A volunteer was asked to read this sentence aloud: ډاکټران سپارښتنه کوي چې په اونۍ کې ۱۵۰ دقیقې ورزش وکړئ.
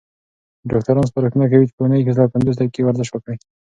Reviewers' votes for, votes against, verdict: 0, 2, rejected